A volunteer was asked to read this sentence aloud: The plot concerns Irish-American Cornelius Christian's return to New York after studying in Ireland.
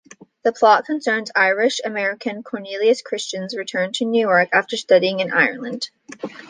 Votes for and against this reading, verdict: 2, 0, accepted